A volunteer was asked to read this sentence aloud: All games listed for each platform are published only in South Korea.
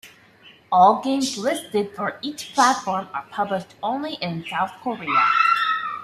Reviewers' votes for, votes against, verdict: 2, 0, accepted